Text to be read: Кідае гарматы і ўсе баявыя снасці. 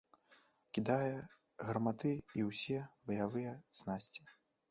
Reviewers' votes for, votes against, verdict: 1, 3, rejected